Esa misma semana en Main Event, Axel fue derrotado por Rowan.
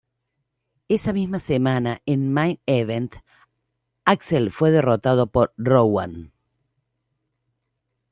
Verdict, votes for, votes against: accepted, 2, 0